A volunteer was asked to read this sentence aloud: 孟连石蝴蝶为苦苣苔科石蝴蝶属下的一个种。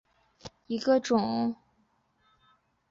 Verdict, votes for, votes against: rejected, 0, 2